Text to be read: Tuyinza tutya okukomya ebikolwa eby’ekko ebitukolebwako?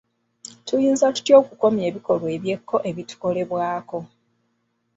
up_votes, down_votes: 2, 0